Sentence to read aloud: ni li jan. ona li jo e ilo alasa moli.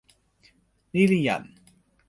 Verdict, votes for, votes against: rejected, 0, 2